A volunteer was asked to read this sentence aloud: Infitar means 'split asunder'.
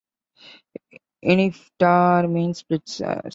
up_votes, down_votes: 0, 2